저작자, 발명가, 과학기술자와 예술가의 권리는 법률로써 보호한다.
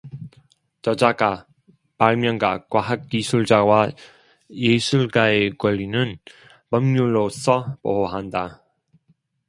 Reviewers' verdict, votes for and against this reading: rejected, 0, 2